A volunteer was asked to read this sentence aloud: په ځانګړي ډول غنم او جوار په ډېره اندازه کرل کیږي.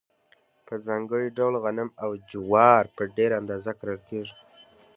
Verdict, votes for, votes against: accepted, 2, 0